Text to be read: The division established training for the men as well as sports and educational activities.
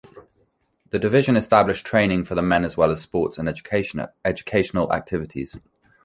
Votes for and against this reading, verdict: 1, 2, rejected